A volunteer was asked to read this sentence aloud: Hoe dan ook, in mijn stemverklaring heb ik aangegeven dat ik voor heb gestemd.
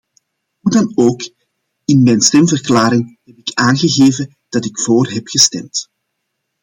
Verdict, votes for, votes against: rejected, 1, 2